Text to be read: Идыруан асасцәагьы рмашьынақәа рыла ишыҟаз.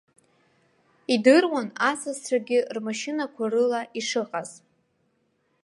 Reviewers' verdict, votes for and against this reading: rejected, 1, 2